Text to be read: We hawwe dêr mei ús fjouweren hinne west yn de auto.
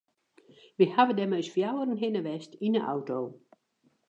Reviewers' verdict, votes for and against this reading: accepted, 2, 1